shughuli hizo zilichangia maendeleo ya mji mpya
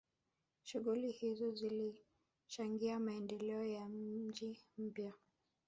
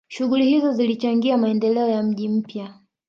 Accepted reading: second